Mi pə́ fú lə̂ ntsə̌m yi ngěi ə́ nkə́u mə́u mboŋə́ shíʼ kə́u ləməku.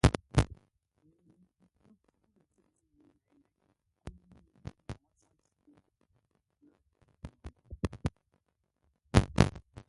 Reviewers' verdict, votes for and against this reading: rejected, 0, 2